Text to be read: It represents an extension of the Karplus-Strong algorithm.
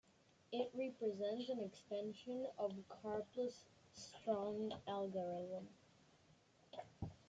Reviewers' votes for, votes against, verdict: 2, 1, accepted